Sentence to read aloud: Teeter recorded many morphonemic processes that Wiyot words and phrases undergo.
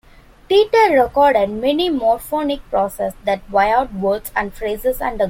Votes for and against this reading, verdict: 0, 2, rejected